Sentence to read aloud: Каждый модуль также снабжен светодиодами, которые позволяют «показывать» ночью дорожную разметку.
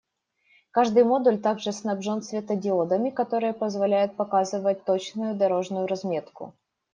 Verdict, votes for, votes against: rejected, 0, 2